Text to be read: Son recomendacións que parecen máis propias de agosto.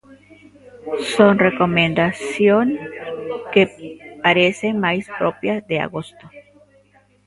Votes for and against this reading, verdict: 0, 2, rejected